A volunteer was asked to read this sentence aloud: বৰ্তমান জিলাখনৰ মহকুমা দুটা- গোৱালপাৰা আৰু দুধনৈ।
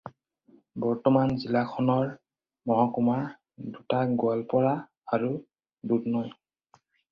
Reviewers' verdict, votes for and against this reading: accepted, 4, 0